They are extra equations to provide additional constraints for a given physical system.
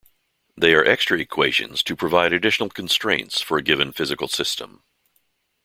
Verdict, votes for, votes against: accepted, 2, 0